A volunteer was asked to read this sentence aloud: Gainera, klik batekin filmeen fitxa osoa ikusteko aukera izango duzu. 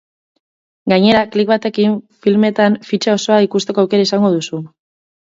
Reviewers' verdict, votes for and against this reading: rejected, 2, 2